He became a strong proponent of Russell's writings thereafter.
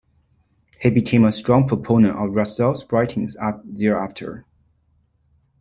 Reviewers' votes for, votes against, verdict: 0, 2, rejected